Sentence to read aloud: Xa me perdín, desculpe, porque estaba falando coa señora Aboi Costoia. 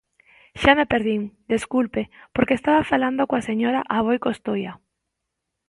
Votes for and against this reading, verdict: 2, 0, accepted